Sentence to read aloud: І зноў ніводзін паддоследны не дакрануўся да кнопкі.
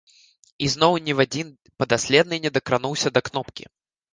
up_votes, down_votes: 0, 2